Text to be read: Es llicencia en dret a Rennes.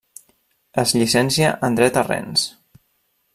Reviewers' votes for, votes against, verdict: 1, 2, rejected